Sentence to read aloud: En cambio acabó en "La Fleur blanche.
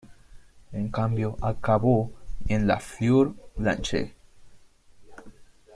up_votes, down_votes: 2, 0